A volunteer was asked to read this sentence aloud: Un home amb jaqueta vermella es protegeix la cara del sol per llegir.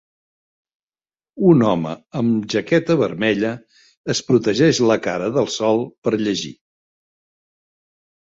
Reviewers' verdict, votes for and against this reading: accepted, 3, 0